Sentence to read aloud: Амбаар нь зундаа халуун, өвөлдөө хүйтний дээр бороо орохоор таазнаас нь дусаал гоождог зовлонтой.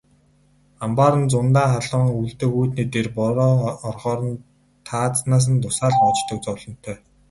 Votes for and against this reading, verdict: 2, 2, rejected